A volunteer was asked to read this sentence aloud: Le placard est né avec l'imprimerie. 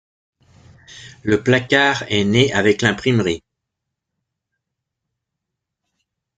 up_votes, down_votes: 2, 0